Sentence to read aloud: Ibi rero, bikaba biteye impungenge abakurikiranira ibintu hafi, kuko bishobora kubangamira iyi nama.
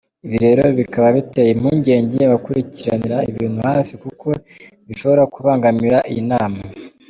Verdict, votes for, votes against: rejected, 1, 2